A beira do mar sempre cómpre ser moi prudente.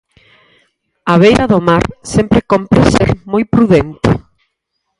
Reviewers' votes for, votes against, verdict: 4, 0, accepted